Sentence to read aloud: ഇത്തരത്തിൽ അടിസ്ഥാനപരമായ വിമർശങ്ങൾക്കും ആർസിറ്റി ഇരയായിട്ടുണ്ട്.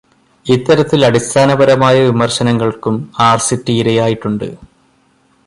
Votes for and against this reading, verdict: 1, 2, rejected